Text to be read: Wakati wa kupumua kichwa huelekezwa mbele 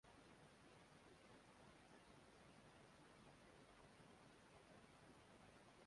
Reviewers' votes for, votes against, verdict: 0, 2, rejected